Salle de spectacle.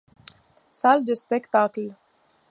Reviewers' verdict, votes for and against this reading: accepted, 2, 0